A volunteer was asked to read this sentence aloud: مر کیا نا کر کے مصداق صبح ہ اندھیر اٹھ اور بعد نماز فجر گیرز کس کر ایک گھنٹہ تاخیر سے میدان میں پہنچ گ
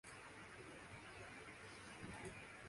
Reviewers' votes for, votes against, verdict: 4, 8, rejected